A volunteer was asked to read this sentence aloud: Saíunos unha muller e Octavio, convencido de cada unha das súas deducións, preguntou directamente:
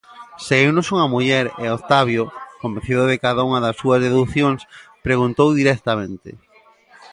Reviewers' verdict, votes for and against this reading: accepted, 2, 0